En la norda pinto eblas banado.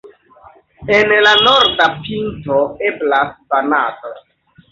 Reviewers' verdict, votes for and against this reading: accepted, 2, 0